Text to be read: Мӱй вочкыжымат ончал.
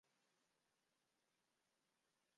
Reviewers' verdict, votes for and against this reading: rejected, 0, 2